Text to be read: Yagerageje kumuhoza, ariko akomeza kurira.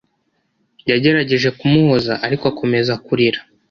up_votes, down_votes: 2, 0